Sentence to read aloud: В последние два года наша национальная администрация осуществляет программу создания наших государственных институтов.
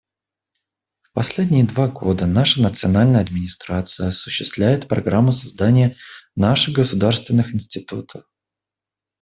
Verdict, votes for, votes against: accepted, 2, 0